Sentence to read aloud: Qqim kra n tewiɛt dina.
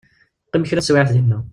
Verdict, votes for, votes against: rejected, 1, 2